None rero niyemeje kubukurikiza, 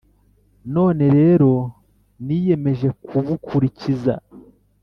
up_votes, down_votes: 2, 0